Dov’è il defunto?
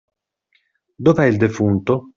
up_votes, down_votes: 2, 0